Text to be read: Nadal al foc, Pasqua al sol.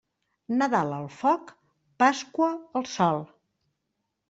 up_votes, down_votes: 3, 0